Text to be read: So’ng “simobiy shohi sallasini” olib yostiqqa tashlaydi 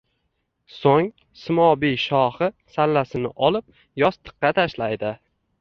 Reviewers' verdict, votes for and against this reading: rejected, 1, 2